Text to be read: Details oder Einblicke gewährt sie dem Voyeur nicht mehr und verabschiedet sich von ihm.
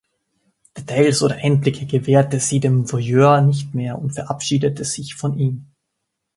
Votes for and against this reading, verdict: 0, 2, rejected